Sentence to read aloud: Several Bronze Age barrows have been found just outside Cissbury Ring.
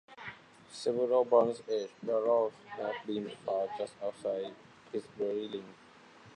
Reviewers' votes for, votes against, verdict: 2, 1, accepted